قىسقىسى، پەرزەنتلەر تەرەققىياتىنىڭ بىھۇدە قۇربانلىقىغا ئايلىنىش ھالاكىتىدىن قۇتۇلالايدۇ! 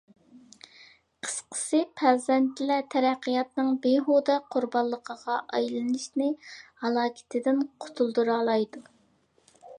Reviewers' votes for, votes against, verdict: 0, 2, rejected